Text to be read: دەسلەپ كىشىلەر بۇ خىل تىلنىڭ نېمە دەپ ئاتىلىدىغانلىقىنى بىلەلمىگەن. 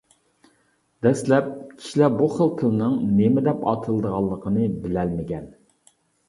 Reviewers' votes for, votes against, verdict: 2, 0, accepted